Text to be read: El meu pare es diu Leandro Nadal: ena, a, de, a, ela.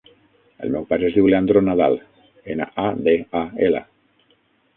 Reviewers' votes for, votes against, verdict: 3, 6, rejected